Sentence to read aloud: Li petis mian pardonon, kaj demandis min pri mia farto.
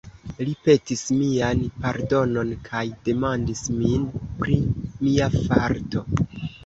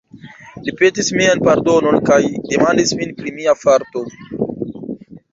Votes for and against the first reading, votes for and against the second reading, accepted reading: 2, 1, 1, 2, first